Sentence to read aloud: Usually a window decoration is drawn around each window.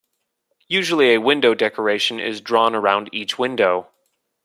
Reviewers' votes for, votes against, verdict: 2, 0, accepted